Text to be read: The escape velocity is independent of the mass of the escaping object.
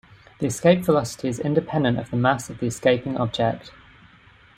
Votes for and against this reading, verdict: 2, 0, accepted